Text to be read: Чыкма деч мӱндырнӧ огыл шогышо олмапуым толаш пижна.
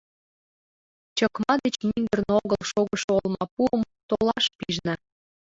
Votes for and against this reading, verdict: 4, 3, accepted